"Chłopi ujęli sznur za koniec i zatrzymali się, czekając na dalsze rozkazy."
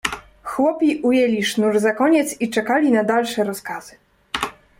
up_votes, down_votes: 1, 2